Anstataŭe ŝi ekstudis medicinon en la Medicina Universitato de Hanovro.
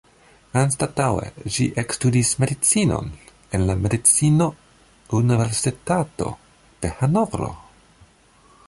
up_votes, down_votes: 1, 2